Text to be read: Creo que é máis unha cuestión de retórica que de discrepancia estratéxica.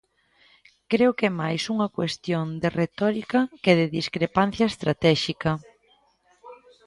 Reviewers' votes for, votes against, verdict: 2, 0, accepted